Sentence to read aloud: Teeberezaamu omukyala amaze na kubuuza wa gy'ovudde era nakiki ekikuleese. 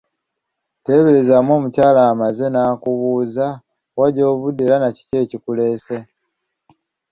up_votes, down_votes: 2, 0